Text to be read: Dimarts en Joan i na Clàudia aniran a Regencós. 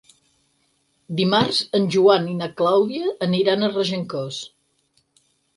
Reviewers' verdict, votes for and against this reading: accepted, 6, 0